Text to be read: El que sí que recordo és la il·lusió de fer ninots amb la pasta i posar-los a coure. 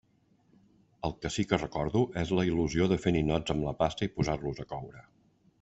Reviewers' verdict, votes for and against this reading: accepted, 2, 0